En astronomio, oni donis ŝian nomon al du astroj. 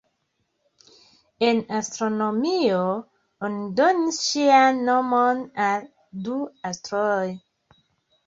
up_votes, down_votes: 1, 2